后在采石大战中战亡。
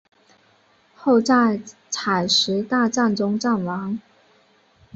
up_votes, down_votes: 2, 0